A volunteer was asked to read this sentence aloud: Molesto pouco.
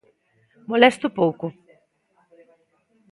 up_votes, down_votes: 2, 0